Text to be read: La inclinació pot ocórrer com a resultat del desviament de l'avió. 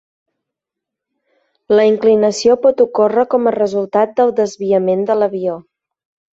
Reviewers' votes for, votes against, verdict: 2, 0, accepted